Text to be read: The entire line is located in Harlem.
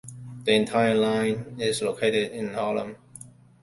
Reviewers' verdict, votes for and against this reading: accepted, 2, 0